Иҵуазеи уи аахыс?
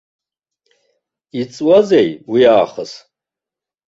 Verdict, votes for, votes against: accepted, 2, 1